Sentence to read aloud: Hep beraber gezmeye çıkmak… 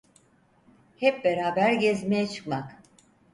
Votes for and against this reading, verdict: 4, 0, accepted